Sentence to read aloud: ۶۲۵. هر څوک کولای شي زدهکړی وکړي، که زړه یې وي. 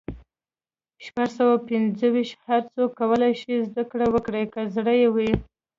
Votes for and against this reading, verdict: 0, 2, rejected